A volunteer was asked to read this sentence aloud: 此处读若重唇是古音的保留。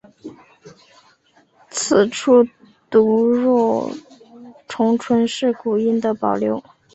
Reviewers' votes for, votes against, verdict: 1, 2, rejected